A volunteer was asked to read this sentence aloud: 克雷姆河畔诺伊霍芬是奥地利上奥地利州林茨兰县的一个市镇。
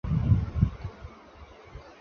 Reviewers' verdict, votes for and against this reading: rejected, 0, 2